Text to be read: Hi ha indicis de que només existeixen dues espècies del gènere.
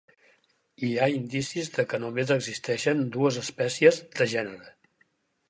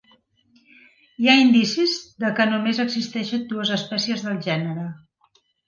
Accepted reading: second